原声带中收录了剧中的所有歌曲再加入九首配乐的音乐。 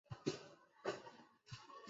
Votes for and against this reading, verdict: 0, 4, rejected